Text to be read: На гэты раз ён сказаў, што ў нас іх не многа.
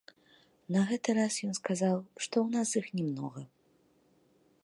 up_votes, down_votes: 1, 2